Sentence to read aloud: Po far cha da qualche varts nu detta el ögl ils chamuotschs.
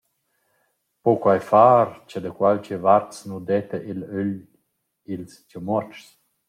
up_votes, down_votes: 1, 2